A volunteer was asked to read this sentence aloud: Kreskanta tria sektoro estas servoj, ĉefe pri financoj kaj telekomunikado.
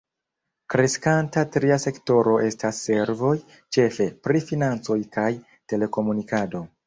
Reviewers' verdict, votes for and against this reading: rejected, 1, 3